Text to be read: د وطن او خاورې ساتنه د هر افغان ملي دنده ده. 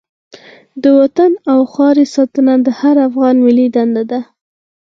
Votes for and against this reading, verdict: 4, 0, accepted